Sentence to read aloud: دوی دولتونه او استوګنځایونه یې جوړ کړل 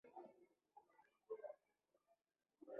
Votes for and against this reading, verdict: 1, 2, rejected